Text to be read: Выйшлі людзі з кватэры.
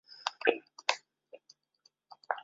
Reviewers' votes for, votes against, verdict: 0, 2, rejected